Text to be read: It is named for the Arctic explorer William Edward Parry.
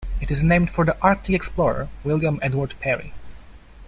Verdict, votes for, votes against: accepted, 2, 0